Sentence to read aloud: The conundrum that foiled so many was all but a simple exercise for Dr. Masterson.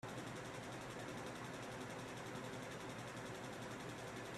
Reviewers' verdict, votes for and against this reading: rejected, 0, 2